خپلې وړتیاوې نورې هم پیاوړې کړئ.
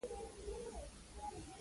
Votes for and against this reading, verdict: 2, 1, accepted